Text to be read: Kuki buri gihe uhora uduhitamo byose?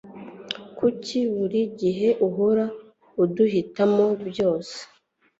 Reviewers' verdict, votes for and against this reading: accepted, 2, 0